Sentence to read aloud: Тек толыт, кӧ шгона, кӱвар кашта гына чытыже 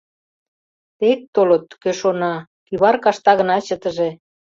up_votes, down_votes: 0, 2